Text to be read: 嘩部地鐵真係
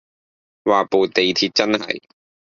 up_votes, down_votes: 0, 2